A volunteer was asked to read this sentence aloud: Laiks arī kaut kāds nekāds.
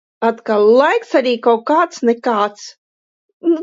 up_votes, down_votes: 0, 3